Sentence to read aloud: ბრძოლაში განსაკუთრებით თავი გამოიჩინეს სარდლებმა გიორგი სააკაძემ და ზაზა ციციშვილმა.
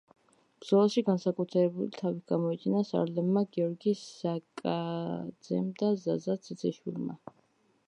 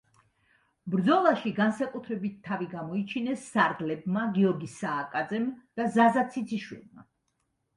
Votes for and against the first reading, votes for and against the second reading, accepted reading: 1, 2, 2, 0, second